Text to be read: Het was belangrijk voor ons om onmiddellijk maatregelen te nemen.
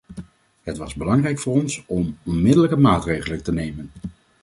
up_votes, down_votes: 2, 0